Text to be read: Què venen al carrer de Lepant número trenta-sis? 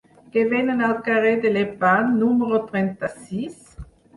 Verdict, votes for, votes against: rejected, 2, 4